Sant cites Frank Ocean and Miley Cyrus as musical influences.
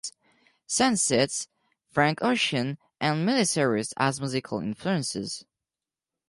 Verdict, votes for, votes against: accepted, 4, 0